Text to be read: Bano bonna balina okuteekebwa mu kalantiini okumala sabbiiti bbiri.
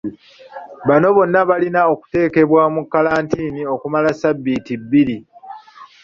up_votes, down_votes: 2, 0